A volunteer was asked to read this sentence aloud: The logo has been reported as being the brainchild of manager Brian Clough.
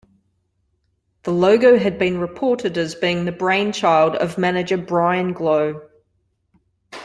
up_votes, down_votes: 2, 1